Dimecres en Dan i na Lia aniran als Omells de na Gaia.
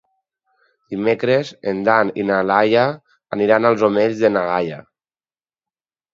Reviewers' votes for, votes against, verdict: 2, 4, rejected